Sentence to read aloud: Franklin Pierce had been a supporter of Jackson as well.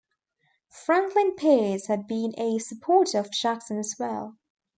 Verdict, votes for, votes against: rejected, 1, 2